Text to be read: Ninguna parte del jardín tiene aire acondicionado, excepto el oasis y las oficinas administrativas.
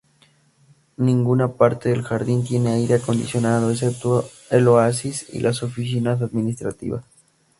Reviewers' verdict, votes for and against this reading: accepted, 2, 0